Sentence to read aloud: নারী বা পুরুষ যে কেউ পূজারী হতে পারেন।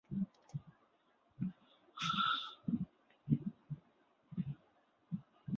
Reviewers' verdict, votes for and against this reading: rejected, 0, 2